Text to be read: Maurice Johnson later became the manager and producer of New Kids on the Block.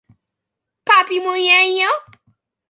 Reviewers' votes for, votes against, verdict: 0, 2, rejected